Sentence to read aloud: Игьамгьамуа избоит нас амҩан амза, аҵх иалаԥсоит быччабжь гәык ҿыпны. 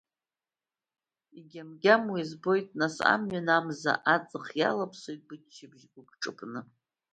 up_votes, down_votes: 1, 2